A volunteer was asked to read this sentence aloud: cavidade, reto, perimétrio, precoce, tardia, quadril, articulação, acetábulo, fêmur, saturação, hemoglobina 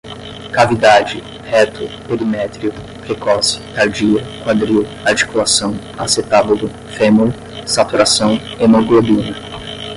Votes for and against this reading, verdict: 10, 0, accepted